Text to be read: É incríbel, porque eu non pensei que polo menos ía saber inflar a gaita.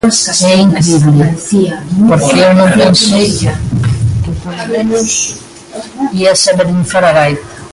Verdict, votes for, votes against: rejected, 0, 2